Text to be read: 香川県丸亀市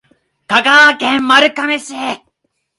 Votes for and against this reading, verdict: 2, 3, rejected